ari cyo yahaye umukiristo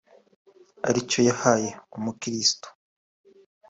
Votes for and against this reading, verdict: 2, 0, accepted